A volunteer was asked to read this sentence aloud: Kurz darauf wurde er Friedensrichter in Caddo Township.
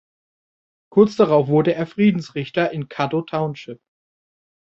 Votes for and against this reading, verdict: 2, 0, accepted